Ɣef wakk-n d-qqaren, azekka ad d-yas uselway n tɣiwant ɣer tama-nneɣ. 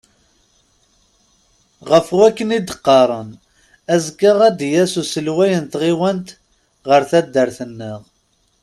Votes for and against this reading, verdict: 1, 2, rejected